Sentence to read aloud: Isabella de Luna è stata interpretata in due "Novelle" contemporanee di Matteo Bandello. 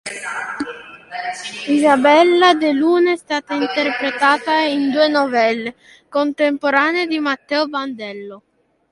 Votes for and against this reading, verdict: 2, 0, accepted